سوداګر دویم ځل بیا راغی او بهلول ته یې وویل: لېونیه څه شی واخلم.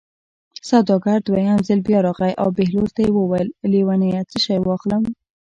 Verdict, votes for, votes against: accepted, 2, 0